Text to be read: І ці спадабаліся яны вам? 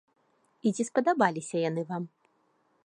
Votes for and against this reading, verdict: 2, 1, accepted